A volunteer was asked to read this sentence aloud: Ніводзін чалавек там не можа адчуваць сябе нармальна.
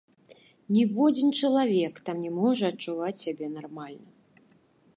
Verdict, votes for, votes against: accepted, 2, 0